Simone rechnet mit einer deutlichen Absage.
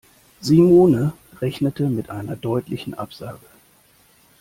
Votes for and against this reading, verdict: 1, 2, rejected